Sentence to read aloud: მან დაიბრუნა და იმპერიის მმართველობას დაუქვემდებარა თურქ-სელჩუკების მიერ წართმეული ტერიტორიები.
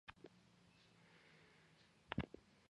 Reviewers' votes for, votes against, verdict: 0, 2, rejected